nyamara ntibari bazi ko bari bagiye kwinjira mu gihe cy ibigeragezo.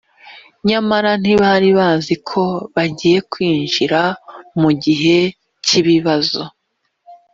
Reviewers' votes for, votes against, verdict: 1, 2, rejected